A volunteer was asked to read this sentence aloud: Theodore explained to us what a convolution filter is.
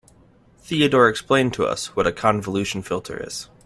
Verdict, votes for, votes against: accepted, 2, 0